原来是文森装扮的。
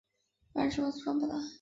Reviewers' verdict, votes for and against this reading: rejected, 1, 3